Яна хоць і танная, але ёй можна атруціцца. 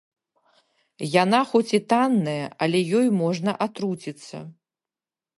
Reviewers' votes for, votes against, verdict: 2, 0, accepted